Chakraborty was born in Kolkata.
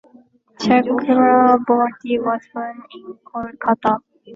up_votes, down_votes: 0, 2